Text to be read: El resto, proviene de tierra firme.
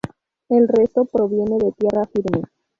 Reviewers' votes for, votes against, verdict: 2, 0, accepted